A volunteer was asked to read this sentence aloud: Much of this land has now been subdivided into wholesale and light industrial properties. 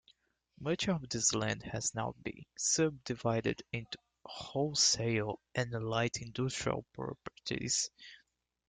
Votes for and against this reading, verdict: 2, 0, accepted